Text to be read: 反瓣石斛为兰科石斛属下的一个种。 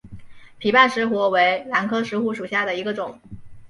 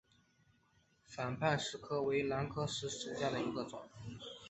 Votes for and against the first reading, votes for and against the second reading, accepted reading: 2, 0, 0, 2, first